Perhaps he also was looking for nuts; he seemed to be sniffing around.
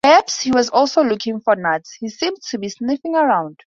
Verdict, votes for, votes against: rejected, 0, 2